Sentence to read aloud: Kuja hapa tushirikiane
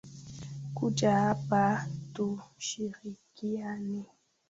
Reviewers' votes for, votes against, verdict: 0, 2, rejected